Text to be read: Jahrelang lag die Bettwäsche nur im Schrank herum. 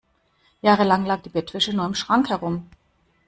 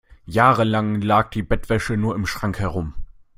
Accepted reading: second